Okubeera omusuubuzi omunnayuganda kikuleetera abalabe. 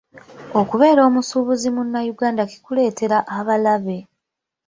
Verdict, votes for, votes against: rejected, 1, 2